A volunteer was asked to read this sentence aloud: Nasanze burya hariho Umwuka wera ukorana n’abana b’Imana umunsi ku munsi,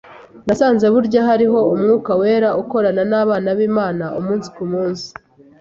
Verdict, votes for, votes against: accepted, 2, 0